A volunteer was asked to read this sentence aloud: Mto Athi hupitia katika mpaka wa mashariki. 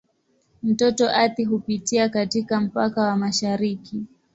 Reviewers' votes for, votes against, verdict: 0, 2, rejected